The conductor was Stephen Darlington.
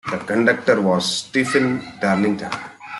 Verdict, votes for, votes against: rejected, 1, 2